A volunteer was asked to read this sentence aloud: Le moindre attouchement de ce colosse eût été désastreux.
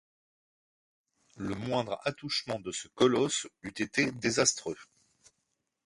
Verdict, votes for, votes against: accepted, 2, 0